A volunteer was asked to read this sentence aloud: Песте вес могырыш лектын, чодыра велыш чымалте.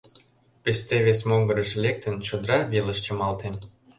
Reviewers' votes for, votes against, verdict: 2, 0, accepted